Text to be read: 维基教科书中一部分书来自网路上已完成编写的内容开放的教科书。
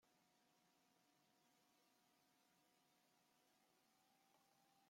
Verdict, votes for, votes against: rejected, 0, 2